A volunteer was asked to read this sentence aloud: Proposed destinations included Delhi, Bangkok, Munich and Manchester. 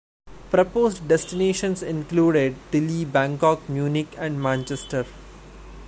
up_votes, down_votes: 2, 0